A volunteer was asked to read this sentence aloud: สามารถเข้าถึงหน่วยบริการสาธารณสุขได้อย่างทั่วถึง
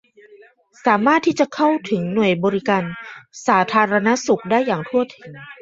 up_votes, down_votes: 0, 2